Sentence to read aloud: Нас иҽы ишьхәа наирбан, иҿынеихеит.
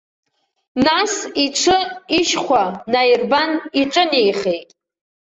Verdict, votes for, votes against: accepted, 2, 0